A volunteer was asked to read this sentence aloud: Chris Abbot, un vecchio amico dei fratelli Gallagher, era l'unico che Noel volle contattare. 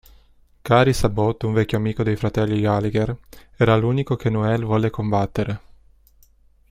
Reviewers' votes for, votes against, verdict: 0, 2, rejected